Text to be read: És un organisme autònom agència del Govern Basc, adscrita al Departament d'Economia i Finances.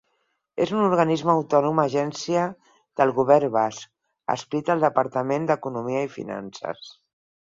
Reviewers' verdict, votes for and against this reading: accepted, 8, 0